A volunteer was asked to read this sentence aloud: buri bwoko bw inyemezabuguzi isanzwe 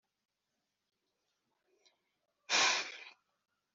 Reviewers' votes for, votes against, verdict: 0, 3, rejected